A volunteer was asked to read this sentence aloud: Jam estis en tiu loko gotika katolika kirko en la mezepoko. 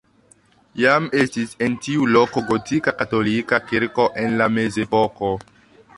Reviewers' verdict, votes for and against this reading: accepted, 2, 1